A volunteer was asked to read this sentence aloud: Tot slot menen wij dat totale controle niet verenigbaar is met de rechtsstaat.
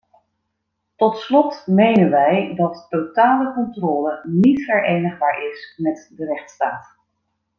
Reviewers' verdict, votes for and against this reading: accepted, 2, 0